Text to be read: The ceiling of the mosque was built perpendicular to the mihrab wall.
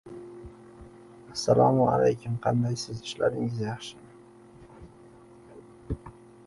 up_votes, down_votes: 1, 2